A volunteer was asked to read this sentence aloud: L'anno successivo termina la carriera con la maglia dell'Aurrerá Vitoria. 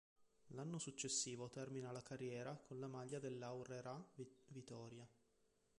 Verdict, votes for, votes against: rejected, 0, 2